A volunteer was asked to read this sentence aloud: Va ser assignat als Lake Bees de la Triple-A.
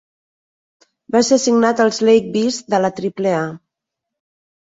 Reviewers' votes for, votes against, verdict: 1, 2, rejected